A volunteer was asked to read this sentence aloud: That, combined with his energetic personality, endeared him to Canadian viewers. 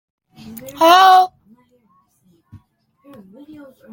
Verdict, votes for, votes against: rejected, 0, 2